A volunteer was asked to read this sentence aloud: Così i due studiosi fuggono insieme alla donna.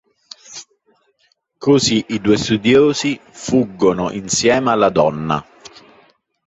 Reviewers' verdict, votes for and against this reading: accepted, 2, 0